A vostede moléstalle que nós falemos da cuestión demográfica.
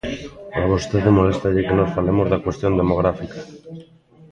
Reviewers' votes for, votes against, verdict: 1, 2, rejected